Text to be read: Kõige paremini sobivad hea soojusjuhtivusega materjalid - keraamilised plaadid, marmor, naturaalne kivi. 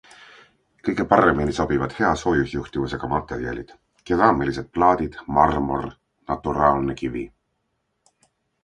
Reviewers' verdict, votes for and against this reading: accepted, 2, 0